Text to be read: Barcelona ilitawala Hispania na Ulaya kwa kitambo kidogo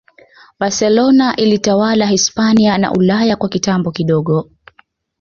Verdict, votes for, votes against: accepted, 2, 0